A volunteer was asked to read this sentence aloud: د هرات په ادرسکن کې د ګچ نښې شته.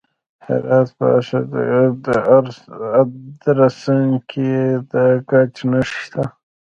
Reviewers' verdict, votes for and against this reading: rejected, 1, 2